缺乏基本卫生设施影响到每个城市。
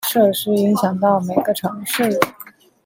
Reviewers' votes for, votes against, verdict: 0, 2, rejected